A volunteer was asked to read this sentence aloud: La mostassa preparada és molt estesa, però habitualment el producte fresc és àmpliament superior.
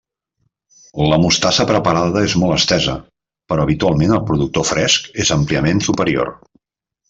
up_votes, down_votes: 0, 2